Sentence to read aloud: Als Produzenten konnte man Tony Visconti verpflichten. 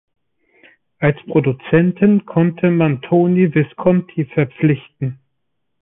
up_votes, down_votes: 3, 0